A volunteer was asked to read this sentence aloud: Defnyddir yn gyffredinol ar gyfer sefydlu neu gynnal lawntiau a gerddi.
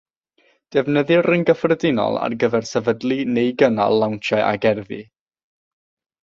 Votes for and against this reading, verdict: 3, 3, rejected